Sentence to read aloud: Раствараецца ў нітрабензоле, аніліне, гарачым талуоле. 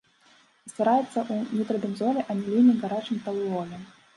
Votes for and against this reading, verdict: 0, 2, rejected